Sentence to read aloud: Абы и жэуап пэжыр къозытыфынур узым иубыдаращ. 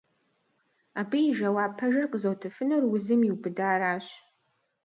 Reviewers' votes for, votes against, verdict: 0, 2, rejected